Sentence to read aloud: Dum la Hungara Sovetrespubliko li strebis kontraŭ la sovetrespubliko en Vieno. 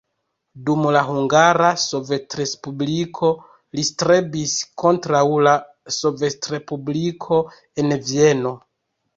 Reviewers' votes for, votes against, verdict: 1, 2, rejected